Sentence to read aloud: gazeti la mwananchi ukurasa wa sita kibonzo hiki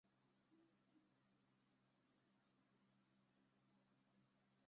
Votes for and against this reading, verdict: 0, 2, rejected